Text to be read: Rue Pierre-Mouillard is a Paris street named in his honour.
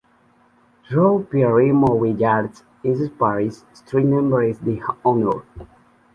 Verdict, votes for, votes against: rejected, 0, 2